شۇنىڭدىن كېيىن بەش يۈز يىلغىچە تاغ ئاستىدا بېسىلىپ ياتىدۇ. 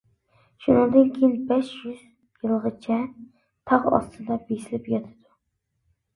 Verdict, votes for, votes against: accepted, 2, 0